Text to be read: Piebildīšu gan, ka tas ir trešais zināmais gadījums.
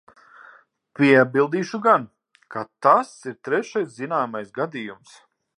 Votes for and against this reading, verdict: 6, 0, accepted